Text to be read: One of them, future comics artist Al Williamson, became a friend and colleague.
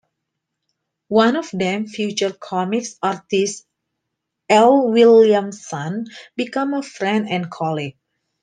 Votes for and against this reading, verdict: 0, 2, rejected